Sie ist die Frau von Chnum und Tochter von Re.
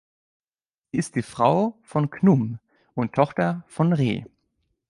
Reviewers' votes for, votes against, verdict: 1, 2, rejected